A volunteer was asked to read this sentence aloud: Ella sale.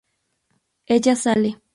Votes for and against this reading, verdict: 2, 0, accepted